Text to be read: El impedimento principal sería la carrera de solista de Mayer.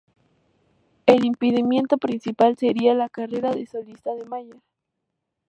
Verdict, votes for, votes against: accepted, 2, 0